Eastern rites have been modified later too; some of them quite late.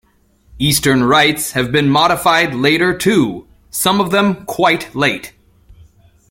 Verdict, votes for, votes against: accepted, 2, 0